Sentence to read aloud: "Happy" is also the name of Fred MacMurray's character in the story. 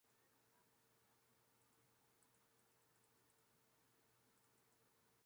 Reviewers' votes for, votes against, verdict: 0, 2, rejected